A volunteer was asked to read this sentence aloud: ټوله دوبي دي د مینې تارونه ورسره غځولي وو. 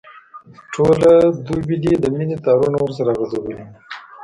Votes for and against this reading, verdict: 1, 2, rejected